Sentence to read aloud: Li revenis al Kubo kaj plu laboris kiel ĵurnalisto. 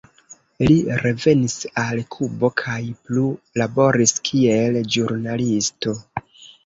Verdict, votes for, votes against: rejected, 1, 2